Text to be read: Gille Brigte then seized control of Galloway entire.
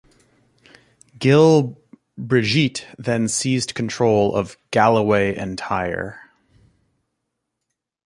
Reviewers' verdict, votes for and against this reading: rejected, 0, 2